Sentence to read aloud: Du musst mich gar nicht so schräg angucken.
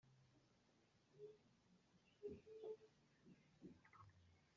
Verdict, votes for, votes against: rejected, 0, 2